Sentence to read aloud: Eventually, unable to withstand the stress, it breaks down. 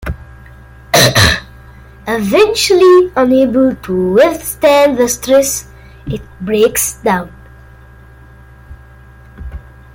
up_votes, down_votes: 2, 0